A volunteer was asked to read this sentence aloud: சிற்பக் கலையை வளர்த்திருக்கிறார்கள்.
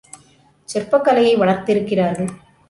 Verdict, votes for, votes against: accepted, 2, 0